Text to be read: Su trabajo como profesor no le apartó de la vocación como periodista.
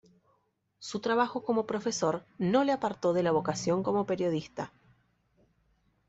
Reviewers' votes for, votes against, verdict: 2, 0, accepted